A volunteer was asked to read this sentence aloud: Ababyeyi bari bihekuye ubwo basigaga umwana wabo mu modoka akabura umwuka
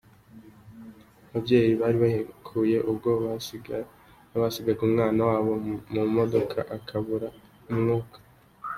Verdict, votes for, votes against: rejected, 0, 2